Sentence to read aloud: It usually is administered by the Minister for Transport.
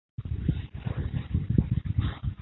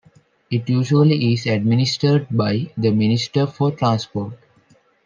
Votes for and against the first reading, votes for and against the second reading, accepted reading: 0, 2, 2, 1, second